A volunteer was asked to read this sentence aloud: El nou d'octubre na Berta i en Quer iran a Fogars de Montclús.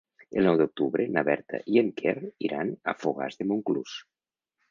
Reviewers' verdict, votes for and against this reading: accepted, 2, 0